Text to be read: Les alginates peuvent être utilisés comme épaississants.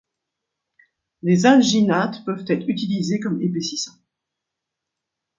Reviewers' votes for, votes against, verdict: 0, 2, rejected